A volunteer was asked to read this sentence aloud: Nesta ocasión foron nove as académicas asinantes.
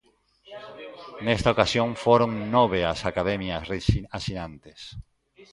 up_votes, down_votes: 0, 2